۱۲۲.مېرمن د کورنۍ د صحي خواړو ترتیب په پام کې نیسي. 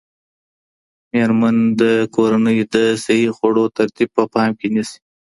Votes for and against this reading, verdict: 0, 2, rejected